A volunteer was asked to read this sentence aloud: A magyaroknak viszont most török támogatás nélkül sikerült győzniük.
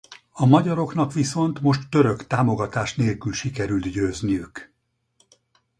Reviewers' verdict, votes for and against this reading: accepted, 4, 0